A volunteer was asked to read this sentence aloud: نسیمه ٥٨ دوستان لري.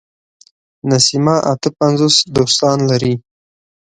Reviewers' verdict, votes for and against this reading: rejected, 0, 2